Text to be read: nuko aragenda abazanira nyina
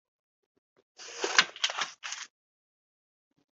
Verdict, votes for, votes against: rejected, 1, 2